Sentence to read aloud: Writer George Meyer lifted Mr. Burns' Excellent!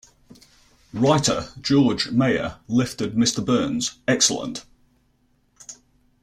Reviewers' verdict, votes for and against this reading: accepted, 2, 0